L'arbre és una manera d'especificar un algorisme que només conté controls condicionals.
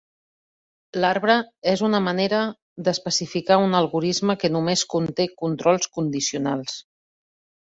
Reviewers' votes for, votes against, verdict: 2, 0, accepted